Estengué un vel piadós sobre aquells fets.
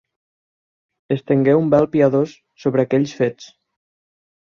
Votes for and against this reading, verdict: 4, 0, accepted